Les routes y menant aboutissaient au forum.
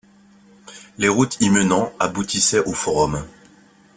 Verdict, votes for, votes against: accepted, 2, 0